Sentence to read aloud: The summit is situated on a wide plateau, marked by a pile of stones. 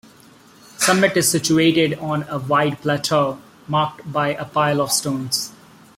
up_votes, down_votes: 0, 2